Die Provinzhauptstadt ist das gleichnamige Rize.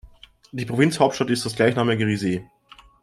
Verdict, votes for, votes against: accepted, 2, 0